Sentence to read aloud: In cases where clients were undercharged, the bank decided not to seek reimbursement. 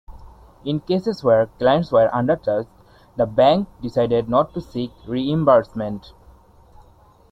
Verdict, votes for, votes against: accepted, 2, 1